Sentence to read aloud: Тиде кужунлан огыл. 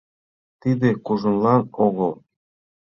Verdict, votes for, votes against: accepted, 2, 1